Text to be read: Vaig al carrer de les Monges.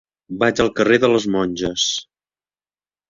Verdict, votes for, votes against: accepted, 4, 0